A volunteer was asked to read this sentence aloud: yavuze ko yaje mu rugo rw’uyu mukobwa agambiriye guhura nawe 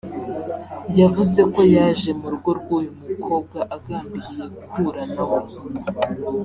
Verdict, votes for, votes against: accepted, 2, 0